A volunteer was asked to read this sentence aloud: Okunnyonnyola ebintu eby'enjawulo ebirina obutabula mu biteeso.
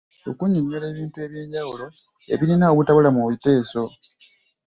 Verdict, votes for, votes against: accepted, 2, 1